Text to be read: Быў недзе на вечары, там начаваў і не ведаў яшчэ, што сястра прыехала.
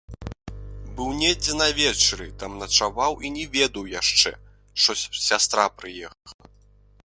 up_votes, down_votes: 0, 2